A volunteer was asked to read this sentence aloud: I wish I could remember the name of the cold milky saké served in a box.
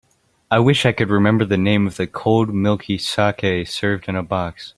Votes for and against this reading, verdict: 2, 0, accepted